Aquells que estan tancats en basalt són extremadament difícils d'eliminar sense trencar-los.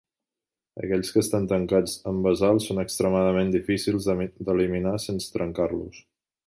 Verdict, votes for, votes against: rejected, 0, 2